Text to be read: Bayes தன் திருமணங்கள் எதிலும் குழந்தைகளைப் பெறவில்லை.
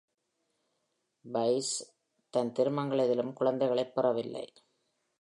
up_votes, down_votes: 0, 2